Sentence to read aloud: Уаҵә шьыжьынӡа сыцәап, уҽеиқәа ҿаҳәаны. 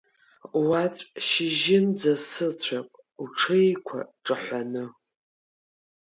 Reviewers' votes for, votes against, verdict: 4, 1, accepted